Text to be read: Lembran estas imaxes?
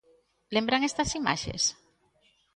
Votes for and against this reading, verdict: 2, 0, accepted